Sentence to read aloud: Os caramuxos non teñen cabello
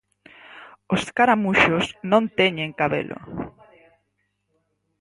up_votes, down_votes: 0, 4